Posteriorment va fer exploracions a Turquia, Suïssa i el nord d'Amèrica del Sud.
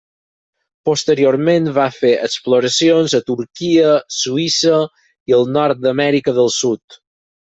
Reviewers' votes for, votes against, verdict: 6, 0, accepted